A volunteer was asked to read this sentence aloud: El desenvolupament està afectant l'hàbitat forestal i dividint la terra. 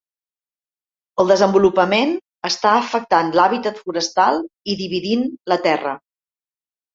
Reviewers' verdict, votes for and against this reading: accepted, 2, 0